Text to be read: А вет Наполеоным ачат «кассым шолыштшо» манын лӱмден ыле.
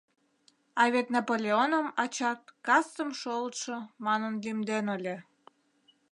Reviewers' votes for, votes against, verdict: 0, 2, rejected